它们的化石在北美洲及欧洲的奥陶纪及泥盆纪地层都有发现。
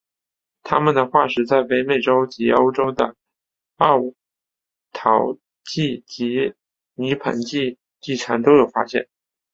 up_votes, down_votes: 2, 3